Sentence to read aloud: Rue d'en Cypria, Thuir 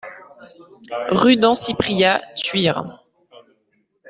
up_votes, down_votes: 1, 2